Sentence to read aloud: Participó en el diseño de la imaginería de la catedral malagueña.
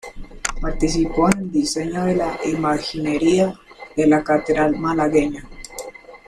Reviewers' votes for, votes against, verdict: 1, 2, rejected